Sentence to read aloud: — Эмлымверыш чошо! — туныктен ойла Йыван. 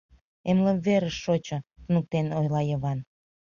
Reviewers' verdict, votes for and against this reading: rejected, 1, 2